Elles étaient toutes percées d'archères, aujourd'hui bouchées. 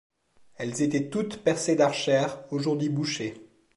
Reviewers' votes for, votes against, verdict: 2, 0, accepted